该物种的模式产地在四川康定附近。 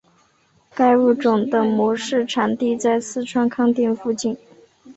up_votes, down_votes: 1, 2